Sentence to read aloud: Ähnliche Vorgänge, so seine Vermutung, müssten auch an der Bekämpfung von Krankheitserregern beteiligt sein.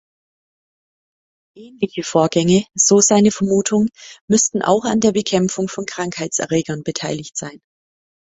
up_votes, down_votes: 0, 2